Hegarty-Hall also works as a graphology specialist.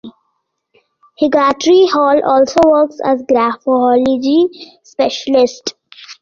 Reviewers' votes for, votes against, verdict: 1, 2, rejected